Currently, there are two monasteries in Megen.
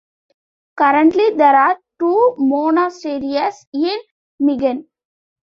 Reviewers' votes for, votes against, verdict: 2, 1, accepted